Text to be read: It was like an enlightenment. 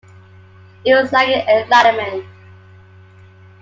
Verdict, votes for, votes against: accepted, 2, 1